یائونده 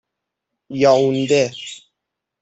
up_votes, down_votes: 3, 3